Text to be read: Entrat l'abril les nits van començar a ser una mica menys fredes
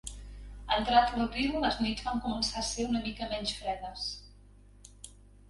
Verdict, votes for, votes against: accepted, 2, 1